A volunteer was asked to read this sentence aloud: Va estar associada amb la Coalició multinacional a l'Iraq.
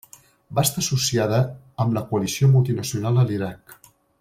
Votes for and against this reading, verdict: 3, 0, accepted